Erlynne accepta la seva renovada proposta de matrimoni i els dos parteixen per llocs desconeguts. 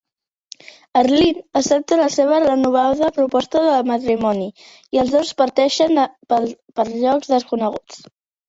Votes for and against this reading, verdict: 0, 2, rejected